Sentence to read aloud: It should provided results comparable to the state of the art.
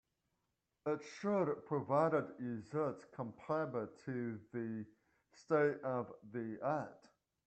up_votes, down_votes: 1, 2